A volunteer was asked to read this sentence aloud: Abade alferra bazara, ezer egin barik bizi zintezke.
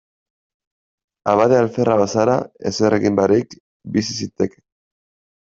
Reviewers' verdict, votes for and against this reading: rejected, 1, 2